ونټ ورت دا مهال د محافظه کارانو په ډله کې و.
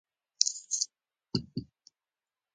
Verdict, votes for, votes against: accepted, 2, 1